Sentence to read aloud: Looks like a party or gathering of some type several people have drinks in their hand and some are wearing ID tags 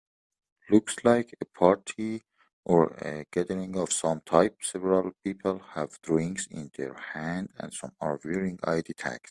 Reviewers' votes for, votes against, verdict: 2, 0, accepted